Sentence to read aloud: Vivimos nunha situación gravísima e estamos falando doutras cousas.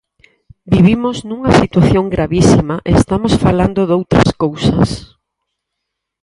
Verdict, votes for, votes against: accepted, 4, 0